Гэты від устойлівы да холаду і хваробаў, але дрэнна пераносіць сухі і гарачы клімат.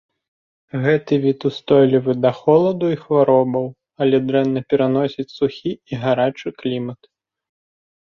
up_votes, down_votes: 2, 0